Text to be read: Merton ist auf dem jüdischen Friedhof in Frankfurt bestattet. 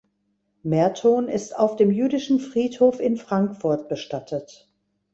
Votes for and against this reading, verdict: 2, 0, accepted